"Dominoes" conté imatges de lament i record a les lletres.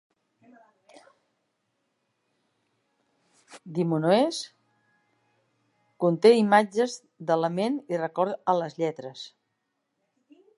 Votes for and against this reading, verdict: 2, 3, rejected